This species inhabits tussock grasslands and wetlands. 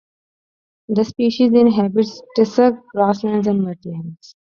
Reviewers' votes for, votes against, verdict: 0, 2, rejected